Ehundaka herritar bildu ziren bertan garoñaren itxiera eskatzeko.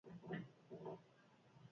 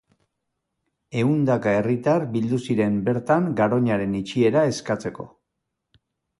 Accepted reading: second